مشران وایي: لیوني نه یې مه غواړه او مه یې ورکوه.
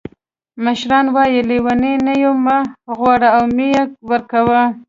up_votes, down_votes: 2, 1